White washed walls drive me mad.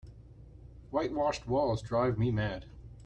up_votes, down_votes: 3, 0